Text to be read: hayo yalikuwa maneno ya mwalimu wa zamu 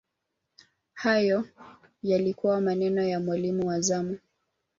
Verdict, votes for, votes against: rejected, 1, 2